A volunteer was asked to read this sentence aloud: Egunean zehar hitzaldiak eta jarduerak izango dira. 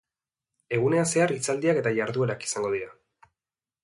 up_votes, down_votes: 2, 0